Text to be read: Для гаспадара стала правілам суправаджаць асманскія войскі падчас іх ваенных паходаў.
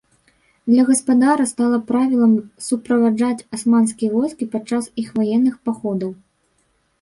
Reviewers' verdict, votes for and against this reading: rejected, 1, 2